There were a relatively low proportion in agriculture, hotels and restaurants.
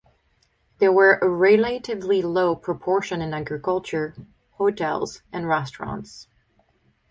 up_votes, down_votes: 2, 2